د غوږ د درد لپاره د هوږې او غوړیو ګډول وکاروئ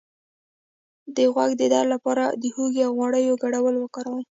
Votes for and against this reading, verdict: 2, 0, accepted